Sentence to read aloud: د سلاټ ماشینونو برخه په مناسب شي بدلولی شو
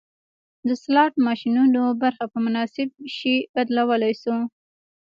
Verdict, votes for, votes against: accepted, 2, 1